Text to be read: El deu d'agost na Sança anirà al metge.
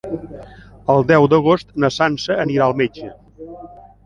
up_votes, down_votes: 2, 0